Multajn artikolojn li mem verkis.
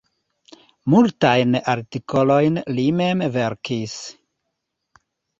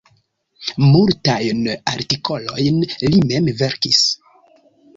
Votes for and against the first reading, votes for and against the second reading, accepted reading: 2, 0, 1, 2, first